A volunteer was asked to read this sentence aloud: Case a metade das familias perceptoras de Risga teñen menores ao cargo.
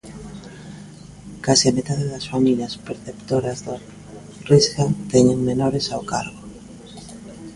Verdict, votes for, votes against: rejected, 0, 3